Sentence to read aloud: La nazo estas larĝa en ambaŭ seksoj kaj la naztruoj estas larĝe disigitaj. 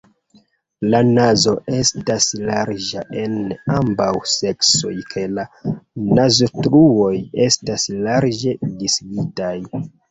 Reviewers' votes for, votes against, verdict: 2, 0, accepted